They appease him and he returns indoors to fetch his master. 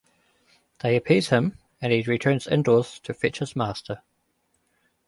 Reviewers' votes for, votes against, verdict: 2, 1, accepted